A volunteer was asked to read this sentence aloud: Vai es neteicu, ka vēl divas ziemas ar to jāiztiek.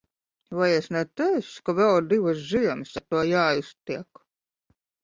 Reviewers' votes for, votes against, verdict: 0, 2, rejected